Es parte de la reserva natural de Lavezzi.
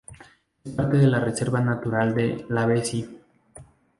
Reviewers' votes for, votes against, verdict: 2, 2, rejected